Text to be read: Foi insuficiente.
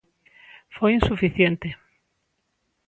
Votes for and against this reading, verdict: 2, 0, accepted